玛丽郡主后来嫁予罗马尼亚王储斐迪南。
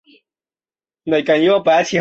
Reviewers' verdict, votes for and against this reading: accepted, 4, 2